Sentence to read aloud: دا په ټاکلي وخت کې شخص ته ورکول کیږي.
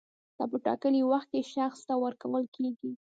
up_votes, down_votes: 1, 2